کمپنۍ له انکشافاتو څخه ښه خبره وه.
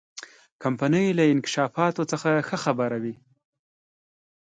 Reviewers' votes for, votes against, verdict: 2, 0, accepted